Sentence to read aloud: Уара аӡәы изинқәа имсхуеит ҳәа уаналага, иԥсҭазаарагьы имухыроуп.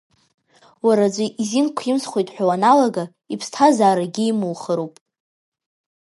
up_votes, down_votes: 2, 0